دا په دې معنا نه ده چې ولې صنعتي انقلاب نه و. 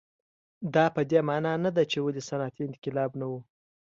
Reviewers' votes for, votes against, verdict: 2, 0, accepted